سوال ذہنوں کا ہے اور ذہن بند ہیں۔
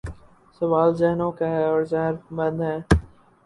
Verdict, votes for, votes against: rejected, 2, 2